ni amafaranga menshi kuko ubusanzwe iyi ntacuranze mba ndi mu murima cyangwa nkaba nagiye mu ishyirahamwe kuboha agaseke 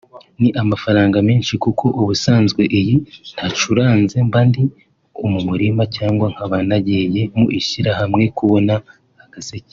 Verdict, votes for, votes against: rejected, 1, 2